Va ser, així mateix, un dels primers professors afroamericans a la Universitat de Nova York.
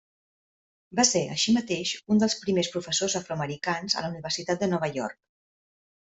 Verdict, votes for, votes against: accepted, 3, 0